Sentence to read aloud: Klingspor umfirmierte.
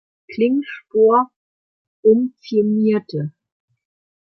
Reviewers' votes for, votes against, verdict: 2, 1, accepted